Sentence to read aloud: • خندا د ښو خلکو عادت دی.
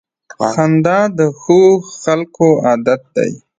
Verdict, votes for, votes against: rejected, 1, 2